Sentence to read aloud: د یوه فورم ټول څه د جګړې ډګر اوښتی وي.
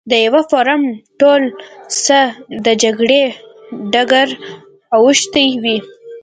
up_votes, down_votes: 2, 0